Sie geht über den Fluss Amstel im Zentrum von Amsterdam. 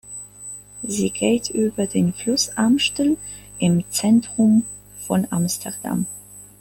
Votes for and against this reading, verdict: 2, 0, accepted